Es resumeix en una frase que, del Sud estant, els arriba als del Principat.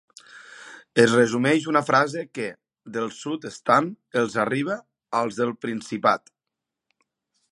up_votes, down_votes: 1, 2